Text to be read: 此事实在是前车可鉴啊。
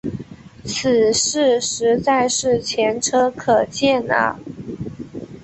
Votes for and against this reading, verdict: 3, 0, accepted